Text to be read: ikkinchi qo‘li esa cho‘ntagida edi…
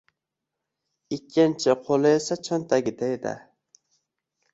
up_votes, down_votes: 1, 2